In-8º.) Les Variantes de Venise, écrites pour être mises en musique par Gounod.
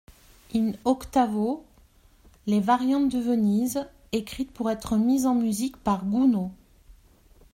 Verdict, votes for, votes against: rejected, 0, 2